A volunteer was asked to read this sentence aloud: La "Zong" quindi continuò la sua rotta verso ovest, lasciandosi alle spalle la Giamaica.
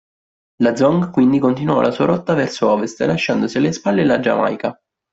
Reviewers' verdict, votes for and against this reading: rejected, 1, 2